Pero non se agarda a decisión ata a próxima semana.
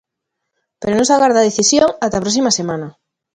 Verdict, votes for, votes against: accepted, 2, 0